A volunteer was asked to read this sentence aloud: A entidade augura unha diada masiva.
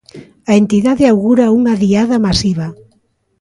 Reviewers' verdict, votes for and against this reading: accepted, 2, 0